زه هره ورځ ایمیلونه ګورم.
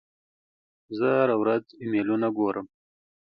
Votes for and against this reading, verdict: 2, 0, accepted